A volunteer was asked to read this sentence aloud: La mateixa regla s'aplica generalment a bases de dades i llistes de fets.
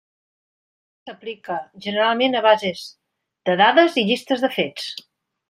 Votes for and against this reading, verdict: 0, 2, rejected